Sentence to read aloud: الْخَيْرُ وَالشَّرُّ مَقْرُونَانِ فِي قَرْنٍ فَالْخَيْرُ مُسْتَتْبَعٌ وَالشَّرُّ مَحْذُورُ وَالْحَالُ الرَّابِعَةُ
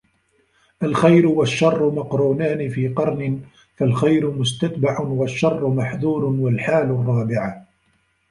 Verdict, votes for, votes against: rejected, 0, 2